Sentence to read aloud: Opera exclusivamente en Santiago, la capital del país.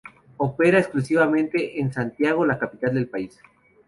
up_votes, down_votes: 2, 0